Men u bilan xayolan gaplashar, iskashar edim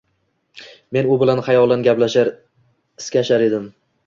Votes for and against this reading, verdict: 2, 0, accepted